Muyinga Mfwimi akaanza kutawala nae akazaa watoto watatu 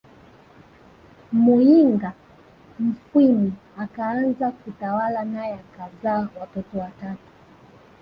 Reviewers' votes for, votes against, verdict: 2, 1, accepted